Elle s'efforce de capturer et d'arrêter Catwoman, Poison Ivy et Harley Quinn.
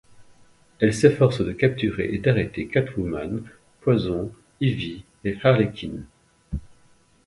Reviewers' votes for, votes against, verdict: 1, 2, rejected